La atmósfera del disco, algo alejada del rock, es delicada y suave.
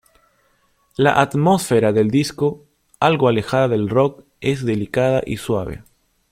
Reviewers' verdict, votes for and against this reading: accepted, 2, 0